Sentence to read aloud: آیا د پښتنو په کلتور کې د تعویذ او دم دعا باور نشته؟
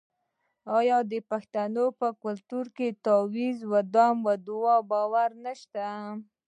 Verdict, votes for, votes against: rejected, 1, 2